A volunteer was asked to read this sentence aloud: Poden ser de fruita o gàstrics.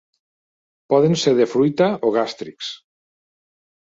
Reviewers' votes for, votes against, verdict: 3, 0, accepted